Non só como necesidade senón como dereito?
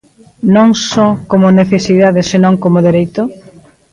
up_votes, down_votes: 2, 0